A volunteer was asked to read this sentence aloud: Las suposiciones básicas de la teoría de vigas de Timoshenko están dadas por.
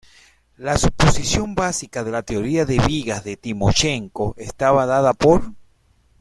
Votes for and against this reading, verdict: 0, 2, rejected